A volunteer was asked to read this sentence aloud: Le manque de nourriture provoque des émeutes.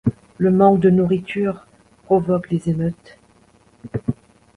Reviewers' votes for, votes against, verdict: 1, 2, rejected